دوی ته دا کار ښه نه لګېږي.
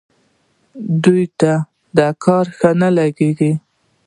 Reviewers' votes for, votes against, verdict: 2, 0, accepted